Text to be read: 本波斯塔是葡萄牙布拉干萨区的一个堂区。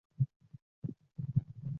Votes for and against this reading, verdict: 0, 2, rejected